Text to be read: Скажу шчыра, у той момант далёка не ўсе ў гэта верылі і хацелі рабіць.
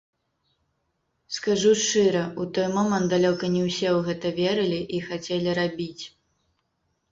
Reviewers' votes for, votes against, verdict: 1, 2, rejected